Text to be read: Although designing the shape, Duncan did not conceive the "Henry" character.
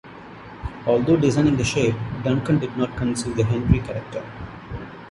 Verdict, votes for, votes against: accepted, 2, 1